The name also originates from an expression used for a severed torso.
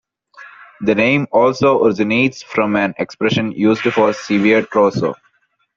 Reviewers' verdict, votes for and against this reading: rejected, 0, 2